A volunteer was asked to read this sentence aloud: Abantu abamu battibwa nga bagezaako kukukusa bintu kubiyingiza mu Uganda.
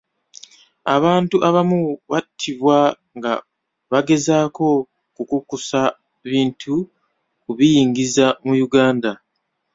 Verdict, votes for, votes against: rejected, 1, 2